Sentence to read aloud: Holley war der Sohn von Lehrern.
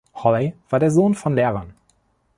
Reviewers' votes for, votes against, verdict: 1, 2, rejected